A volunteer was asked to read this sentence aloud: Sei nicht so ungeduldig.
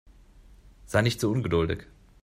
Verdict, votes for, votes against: accepted, 2, 1